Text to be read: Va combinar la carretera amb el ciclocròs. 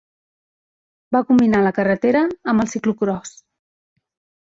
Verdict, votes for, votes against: rejected, 1, 2